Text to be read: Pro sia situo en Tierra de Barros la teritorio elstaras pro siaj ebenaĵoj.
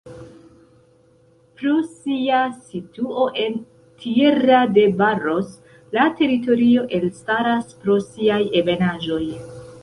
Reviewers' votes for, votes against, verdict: 1, 2, rejected